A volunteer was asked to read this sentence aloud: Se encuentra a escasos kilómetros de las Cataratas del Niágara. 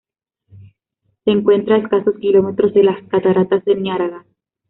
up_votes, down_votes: 0, 2